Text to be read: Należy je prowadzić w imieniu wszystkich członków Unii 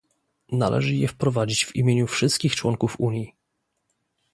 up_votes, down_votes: 0, 2